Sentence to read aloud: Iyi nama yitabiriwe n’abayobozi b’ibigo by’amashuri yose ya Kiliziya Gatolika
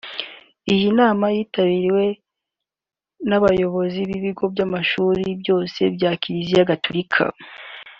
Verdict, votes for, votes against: rejected, 0, 2